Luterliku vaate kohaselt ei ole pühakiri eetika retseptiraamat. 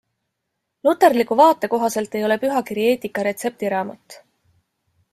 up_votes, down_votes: 2, 1